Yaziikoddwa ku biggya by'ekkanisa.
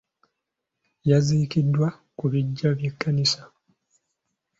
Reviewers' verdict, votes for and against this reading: accepted, 2, 0